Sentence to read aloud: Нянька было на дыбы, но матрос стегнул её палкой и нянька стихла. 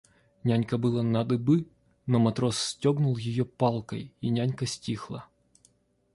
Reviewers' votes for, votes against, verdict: 0, 2, rejected